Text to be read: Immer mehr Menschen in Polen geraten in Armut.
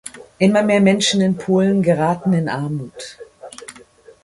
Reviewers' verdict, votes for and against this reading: accepted, 2, 0